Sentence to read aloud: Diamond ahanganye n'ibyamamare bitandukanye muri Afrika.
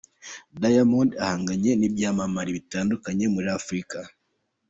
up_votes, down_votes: 2, 0